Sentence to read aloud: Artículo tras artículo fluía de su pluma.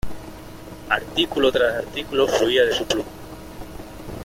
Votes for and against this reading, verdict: 2, 0, accepted